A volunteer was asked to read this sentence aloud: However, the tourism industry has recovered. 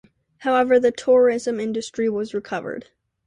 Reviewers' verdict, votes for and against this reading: rejected, 0, 2